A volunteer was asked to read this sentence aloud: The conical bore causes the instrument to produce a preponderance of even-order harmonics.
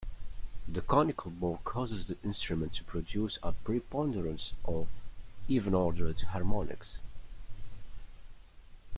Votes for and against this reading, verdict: 0, 2, rejected